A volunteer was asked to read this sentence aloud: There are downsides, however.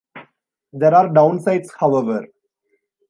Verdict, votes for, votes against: accepted, 2, 0